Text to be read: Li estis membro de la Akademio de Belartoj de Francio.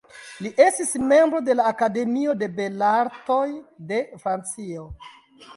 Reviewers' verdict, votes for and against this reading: rejected, 0, 3